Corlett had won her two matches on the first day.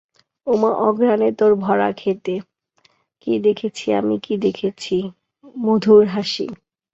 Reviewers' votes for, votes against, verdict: 0, 2, rejected